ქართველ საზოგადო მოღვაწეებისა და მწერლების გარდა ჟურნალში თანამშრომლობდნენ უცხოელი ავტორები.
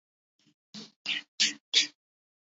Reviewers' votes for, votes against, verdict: 0, 2, rejected